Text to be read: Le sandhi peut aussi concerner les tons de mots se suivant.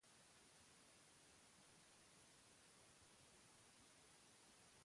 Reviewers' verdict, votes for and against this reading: rejected, 1, 2